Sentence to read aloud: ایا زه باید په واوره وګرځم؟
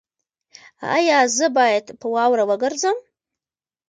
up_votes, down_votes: 1, 2